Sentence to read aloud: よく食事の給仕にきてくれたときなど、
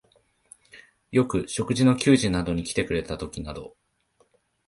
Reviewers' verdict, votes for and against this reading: rejected, 1, 2